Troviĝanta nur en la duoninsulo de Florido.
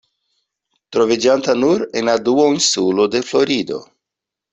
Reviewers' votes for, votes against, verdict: 2, 1, accepted